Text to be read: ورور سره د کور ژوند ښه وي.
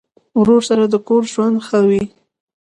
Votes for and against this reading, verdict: 2, 0, accepted